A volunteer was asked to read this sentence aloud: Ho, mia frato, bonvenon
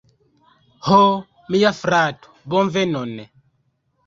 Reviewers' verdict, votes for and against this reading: rejected, 0, 2